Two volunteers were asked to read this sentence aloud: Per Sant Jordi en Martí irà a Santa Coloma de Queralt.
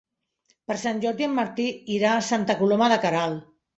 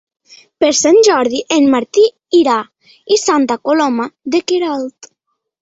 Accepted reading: first